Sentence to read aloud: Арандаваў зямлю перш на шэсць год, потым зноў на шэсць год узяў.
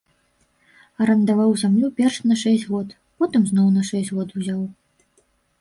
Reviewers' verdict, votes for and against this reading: rejected, 0, 2